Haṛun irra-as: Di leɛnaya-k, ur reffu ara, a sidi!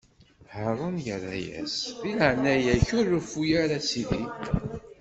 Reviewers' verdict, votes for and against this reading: accepted, 2, 0